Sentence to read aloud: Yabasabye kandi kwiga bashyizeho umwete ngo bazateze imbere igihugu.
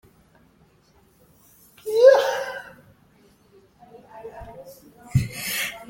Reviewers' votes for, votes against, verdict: 0, 3, rejected